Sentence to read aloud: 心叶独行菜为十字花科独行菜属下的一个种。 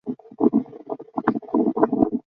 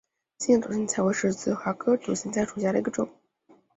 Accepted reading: second